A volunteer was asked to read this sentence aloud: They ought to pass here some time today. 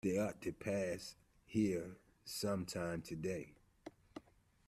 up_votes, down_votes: 1, 2